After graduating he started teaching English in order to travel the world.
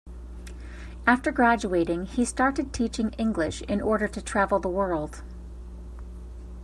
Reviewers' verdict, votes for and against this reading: accepted, 2, 0